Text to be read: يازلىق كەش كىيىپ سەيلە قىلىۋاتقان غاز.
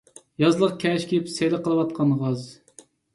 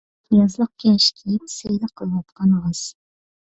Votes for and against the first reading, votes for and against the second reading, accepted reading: 2, 1, 1, 2, first